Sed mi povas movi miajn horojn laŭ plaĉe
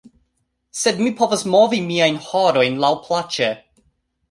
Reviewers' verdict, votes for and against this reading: accepted, 2, 0